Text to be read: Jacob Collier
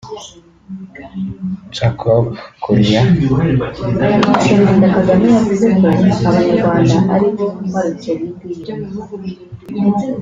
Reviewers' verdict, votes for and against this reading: rejected, 1, 2